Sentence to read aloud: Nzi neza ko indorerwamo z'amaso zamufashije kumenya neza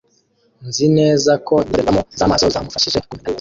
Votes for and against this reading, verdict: 0, 2, rejected